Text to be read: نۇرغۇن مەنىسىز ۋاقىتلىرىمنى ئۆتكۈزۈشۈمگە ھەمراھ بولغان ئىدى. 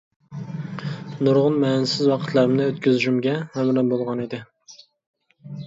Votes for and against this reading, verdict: 0, 2, rejected